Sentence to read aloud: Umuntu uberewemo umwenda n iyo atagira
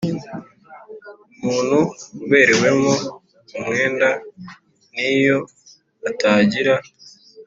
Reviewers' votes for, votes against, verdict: 3, 0, accepted